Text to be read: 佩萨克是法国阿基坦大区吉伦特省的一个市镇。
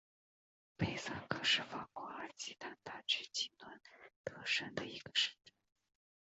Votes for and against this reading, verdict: 3, 1, accepted